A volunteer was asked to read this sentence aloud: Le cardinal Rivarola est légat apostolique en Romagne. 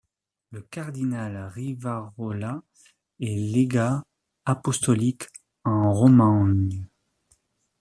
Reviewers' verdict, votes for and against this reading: rejected, 1, 2